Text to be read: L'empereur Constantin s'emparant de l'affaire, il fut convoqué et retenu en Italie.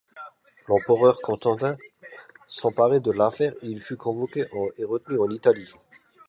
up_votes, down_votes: 0, 2